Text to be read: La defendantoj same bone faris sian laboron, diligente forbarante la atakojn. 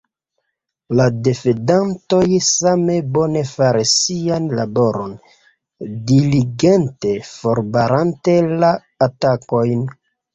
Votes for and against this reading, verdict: 1, 2, rejected